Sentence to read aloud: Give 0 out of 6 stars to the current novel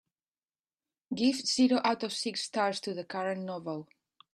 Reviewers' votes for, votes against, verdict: 0, 2, rejected